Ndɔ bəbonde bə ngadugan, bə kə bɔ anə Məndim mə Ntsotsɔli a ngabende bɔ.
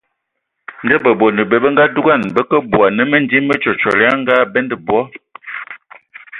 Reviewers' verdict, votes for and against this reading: rejected, 1, 3